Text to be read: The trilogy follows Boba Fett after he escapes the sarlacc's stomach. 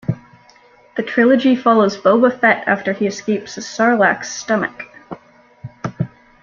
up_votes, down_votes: 2, 0